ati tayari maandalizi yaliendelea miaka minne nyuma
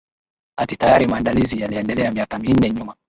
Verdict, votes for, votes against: rejected, 1, 2